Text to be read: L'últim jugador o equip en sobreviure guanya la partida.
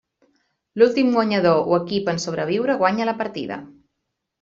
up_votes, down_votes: 0, 2